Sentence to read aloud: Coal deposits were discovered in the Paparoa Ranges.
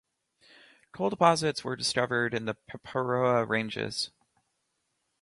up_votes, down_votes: 4, 0